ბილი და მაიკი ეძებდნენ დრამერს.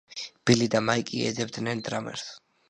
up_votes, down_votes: 2, 0